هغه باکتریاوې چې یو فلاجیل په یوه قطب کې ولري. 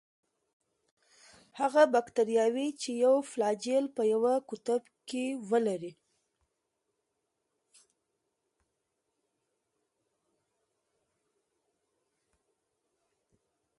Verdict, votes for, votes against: rejected, 1, 2